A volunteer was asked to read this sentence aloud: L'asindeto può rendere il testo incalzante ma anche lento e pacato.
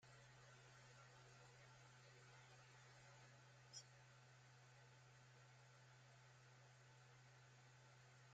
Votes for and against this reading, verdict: 0, 2, rejected